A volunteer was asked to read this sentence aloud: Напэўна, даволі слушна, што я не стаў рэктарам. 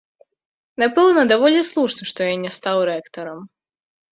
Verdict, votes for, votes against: accepted, 2, 0